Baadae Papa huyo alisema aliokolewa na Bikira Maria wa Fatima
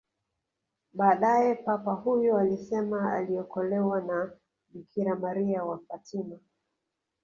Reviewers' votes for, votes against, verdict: 3, 1, accepted